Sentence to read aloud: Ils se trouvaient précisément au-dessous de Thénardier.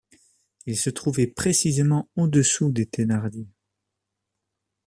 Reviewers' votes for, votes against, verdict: 0, 2, rejected